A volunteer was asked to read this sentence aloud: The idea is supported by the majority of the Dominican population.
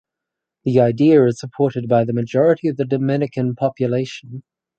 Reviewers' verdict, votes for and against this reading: accepted, 4, 0